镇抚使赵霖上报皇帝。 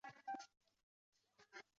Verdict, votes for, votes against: rejected, 1, 2